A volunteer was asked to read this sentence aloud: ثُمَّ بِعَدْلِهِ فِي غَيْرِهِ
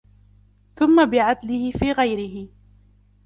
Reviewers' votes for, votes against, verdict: 2, 0, accepted